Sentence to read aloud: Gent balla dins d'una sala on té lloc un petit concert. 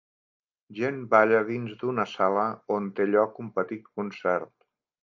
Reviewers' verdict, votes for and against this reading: accepted, 3, 0